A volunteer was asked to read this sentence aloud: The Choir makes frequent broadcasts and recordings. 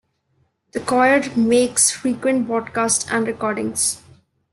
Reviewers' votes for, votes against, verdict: 2, 0, accepted